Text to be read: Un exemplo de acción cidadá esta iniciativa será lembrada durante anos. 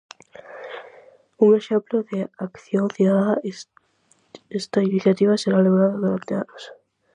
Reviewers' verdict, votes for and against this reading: rejected, 0, 4